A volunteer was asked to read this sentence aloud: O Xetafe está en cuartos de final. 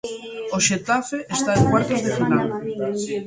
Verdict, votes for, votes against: rejected, 1, 2